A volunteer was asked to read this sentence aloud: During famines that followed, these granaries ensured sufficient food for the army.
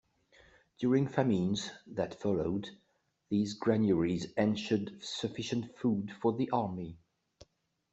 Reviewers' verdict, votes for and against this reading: rejected, 1, 2